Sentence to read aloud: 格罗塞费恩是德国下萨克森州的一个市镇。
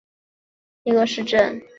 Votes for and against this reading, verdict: 0, 2, rejected